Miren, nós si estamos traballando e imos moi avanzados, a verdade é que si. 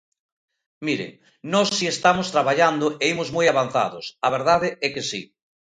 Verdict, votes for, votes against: rejected, 0, 2